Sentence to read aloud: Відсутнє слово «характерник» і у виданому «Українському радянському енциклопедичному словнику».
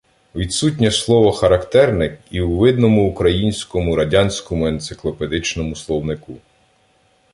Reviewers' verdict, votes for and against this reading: rejected, 1, 2